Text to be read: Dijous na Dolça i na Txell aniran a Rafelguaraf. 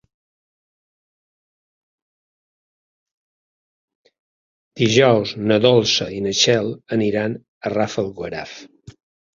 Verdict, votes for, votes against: accepted, 5, 1